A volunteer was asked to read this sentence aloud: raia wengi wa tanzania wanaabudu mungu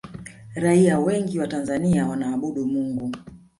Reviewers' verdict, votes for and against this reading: accepted, 2, 1